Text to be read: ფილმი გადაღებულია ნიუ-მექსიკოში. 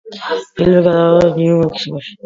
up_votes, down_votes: 1, 2